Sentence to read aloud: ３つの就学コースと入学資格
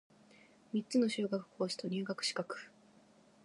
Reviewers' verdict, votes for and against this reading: rejected, 0, 2